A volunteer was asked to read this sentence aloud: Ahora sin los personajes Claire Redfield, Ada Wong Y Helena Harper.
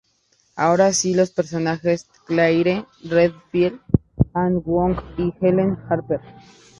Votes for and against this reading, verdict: 0, 2, rejected